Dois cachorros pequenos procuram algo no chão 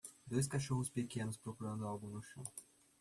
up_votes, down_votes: 0, 2